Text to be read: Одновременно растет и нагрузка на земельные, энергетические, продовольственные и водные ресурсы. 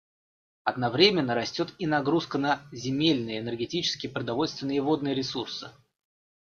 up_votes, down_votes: 2, 0